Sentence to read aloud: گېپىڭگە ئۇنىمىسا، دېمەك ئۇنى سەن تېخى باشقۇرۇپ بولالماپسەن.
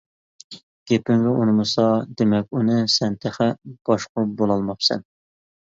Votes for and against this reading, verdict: 2, 0, accepted